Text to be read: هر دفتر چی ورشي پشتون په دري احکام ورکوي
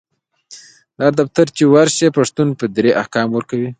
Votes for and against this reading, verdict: 0, 2, rejected